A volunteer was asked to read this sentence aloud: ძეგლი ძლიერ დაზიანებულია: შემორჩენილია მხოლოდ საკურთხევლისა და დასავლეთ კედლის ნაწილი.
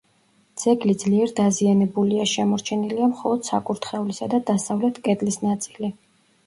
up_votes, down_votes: 2, 0